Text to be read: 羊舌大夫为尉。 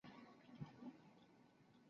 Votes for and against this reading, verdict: 2, 4, rejected